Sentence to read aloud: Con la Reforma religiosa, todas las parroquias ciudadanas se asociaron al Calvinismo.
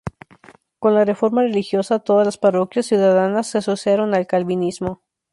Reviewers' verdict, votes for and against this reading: accepted, 2, 0